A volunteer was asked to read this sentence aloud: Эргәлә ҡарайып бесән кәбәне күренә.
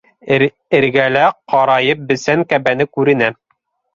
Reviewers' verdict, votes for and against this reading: rejected, 1, 2